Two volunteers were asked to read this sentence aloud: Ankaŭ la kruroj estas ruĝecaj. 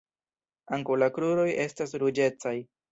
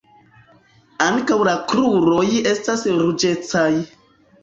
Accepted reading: first